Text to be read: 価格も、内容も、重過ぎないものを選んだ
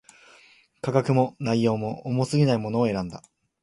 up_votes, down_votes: 2, 0